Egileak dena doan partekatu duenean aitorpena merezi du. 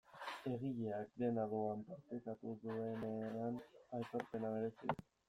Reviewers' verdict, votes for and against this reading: rejected, 0, 2